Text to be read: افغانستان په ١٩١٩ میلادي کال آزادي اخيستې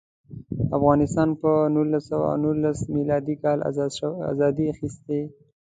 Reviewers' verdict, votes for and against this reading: rejected, 0, 2